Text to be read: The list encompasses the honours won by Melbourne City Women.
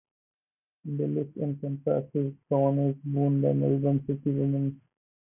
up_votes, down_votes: 4, 0